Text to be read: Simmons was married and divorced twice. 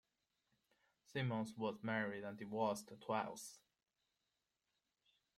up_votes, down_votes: 2, 0